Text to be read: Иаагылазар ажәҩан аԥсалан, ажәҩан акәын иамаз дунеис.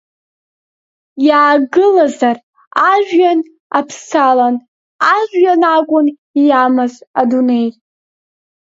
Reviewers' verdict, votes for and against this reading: rejected, 0, 2